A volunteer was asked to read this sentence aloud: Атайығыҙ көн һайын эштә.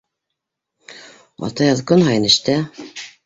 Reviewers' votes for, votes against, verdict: 2, 0, accepted